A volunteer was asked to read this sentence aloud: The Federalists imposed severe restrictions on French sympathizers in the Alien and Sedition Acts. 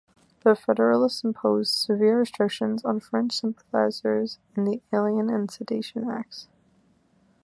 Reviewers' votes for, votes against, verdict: 2, 0, accepted